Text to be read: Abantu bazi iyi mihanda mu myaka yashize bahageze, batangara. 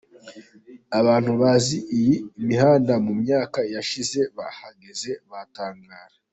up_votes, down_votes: 2, 1